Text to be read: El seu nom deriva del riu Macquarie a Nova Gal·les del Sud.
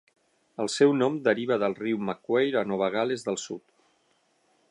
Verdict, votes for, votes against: rejected, 3, 6